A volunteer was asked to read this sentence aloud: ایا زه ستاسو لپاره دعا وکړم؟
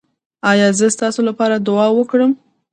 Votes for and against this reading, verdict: 0, 2, rejected